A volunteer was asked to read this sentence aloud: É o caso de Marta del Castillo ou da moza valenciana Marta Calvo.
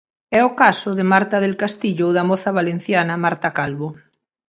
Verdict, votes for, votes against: rejected, 2, 2